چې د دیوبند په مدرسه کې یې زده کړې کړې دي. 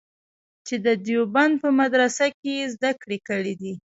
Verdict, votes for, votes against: accepted, 2, 1